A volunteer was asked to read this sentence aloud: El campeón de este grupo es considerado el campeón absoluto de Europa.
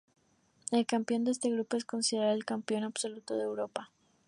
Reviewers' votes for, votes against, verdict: 4, 0, accepted